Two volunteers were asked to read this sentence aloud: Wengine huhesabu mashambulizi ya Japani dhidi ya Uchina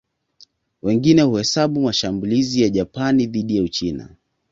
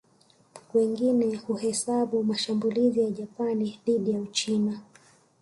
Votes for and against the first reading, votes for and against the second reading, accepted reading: 2, 0, 1, 2, first